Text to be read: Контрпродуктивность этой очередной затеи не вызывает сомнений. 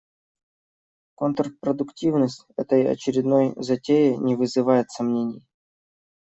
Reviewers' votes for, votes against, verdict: 2, 1, accepted